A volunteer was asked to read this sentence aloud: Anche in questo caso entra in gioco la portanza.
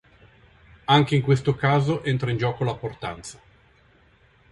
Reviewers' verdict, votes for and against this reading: accepted, 2, 0